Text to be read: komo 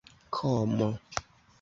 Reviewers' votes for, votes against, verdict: 2, 0, accepted